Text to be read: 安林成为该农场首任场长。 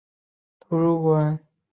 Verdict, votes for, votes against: rejected, 0, 2